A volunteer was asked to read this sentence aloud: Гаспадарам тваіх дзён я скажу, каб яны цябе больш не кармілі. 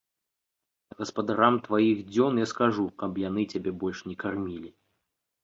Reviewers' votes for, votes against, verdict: 2, 0, accepted